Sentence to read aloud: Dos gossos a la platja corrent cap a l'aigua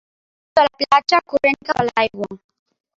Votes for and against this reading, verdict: 0, 3, rejected